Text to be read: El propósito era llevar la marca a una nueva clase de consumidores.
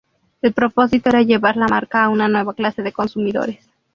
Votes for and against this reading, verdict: 2, 0, accepted